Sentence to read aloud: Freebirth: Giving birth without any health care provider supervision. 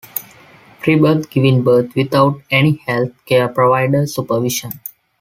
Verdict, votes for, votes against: accepted, 2, 0